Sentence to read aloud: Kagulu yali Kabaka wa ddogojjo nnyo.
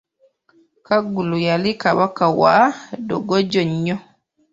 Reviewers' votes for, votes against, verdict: 0, 2, rejected